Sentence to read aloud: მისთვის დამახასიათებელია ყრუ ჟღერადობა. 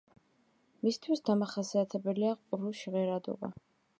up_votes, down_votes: 2, 0